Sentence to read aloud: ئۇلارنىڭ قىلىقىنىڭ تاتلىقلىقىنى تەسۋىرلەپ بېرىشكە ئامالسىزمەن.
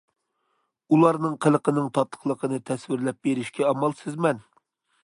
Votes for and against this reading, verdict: 2, 0, accepted